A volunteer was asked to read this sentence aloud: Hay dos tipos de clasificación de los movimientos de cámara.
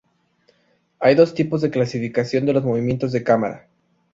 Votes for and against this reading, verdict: 2, 0, accepted